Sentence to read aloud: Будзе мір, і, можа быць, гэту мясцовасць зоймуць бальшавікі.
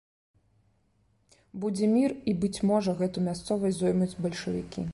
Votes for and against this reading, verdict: 0, 2, rejected